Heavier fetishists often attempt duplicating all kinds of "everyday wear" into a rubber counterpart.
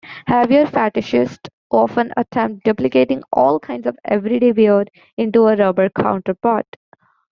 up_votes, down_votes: 2, 0